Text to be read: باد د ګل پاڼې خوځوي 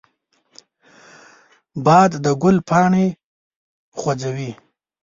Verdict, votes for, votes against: accepted, 2, 0